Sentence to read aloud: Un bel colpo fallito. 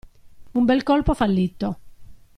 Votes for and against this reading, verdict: 2, 0, accepted